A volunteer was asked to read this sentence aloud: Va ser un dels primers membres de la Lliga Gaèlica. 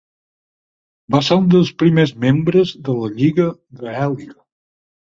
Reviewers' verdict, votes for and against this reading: rejected, 2, 4